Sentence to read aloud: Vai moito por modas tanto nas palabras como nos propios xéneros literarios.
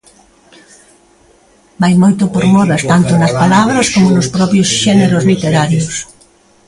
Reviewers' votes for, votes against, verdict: 1, 2, rejected